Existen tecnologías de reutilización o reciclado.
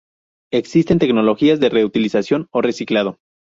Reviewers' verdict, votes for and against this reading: accepted, 4, 0